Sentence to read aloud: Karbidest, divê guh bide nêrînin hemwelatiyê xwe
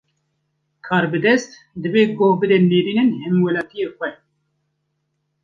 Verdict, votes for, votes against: accepted, 2, 1